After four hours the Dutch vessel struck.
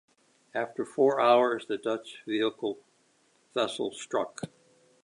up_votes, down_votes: 0, 2